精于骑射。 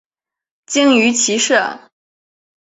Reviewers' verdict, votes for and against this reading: accepted, 4, 0